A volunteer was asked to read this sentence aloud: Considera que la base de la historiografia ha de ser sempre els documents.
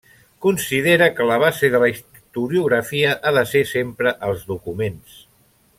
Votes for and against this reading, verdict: 1, 2, rejected